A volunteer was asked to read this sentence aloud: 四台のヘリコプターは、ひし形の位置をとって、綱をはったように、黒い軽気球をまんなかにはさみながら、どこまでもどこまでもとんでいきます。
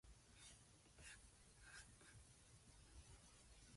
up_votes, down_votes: 0, 2